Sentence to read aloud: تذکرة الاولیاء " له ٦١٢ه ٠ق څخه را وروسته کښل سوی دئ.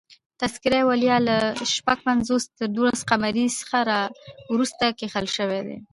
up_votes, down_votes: 0, 2